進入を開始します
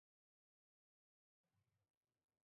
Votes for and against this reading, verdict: 0, 2, rejected